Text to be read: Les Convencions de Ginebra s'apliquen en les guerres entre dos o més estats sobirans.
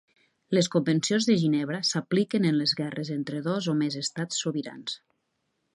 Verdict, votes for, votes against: accepted, 2, 0